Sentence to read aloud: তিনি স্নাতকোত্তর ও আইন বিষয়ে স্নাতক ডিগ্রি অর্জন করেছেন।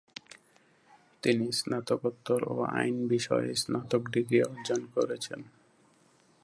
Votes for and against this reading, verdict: 0, 2, rejected